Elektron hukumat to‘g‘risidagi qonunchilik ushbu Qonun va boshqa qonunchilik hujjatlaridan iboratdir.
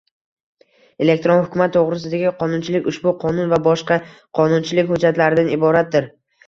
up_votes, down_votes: 0, 2